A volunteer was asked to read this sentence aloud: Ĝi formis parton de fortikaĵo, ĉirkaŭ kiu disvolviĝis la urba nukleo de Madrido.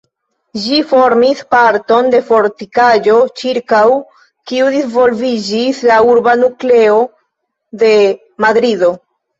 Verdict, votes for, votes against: rejected, 0, 2